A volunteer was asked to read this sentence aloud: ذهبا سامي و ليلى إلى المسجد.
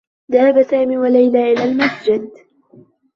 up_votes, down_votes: 0, 2